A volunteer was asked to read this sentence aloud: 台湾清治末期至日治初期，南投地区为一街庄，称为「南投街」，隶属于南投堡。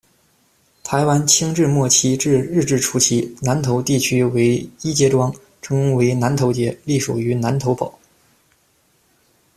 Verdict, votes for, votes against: accepted, 2, 0